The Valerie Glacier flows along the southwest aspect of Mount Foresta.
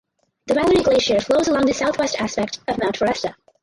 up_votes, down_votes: 2, 4